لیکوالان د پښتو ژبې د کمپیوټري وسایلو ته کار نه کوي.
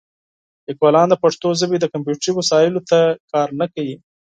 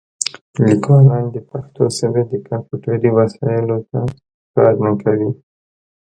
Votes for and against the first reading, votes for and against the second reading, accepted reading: 4, 0, 0, 2, first